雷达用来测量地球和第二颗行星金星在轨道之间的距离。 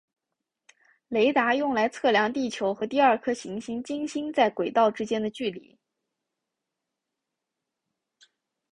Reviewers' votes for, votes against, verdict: 2, 1, accepted